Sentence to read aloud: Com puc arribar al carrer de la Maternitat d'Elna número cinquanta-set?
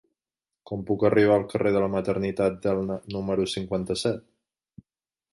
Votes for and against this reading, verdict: 2, 0, accepted